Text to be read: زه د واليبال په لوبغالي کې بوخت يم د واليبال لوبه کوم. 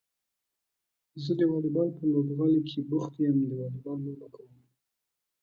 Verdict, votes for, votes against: accepted, 2, 0